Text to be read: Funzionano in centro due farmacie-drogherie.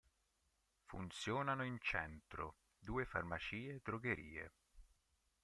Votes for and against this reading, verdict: 0, 3, rejected